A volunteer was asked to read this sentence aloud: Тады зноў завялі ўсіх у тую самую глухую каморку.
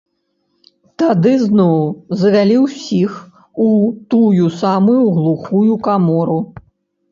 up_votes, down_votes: 0, 2